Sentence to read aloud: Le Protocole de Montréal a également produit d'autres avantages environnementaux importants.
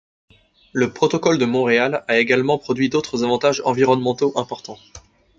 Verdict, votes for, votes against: accepted, 2, 0